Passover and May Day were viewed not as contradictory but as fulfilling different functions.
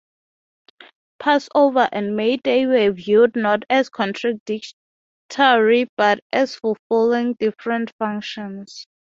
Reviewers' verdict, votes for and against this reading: rejected, 0, 6